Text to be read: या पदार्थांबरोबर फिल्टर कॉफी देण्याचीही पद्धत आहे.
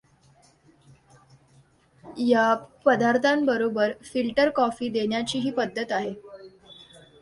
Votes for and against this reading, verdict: 2, 0, accepted